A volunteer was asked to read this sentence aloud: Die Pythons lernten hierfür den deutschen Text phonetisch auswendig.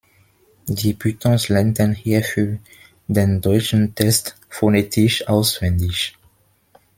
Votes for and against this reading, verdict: 1, 3, rejected